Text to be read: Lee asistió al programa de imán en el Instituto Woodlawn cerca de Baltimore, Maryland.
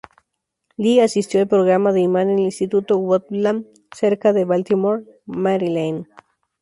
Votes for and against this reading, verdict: 2, 0, accepted